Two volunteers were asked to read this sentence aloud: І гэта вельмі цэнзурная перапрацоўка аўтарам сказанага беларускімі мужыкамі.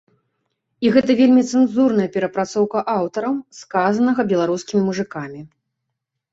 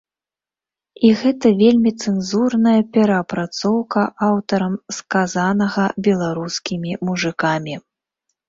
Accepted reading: first